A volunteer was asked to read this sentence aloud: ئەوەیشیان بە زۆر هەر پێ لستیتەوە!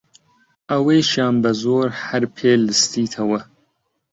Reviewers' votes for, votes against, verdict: 2, 0, accepted